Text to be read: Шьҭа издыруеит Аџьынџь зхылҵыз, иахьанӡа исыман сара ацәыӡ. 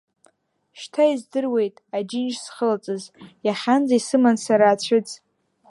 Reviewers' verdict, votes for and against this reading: accepted, 2, 0